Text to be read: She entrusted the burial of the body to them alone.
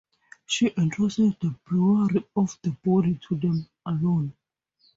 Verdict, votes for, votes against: rejected, 0, 2